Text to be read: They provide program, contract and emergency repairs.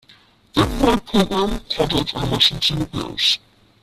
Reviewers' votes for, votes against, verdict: 0, 2, rejected